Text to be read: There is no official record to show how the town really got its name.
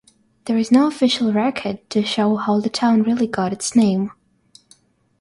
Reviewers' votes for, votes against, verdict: 3, 0, accepted